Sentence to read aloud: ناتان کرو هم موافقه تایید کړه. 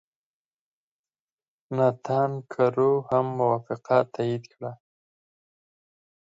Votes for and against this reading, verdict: 4, 0, accepted